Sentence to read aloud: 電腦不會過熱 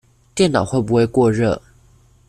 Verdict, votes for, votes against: rejected, 0, 2